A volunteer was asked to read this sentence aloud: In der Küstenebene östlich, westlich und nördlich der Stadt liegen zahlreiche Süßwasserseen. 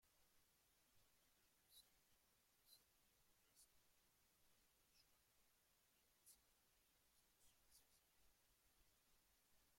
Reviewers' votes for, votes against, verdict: 0, 2, rejected